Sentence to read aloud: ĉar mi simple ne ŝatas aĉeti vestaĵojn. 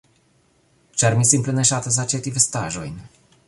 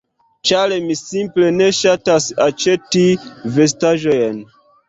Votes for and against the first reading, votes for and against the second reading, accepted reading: 3, 1, 1, 2, first